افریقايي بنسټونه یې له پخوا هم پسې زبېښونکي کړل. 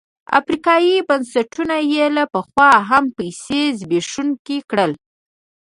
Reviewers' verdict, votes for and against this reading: rejected, 1, 2